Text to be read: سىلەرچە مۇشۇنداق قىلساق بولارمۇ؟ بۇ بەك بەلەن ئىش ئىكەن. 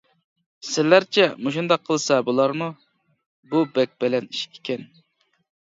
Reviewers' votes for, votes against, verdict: 2, 0, accepted